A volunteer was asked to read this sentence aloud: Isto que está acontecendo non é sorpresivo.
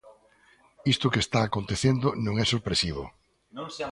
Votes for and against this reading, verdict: 0, 2, rejected